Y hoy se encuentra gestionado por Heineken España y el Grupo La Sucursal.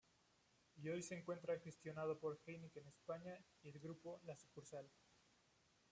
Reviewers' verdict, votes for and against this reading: rejected, 0, 2